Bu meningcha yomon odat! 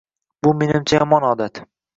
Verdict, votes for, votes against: accepted, 2, 0